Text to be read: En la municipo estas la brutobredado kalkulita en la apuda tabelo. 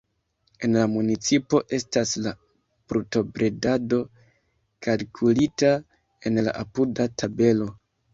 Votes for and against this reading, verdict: 0, 2, rejected